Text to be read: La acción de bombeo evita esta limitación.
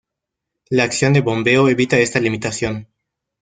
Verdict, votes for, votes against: rejected, 1, 2